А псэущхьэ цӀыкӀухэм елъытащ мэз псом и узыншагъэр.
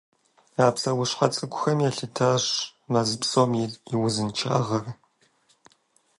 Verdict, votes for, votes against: accepted, 2, 0